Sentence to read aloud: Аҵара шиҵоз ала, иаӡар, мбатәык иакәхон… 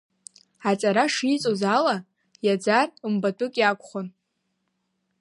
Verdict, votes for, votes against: accepted, 2, 0